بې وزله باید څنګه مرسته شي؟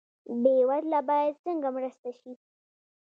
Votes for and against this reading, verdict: 2, 0, accepted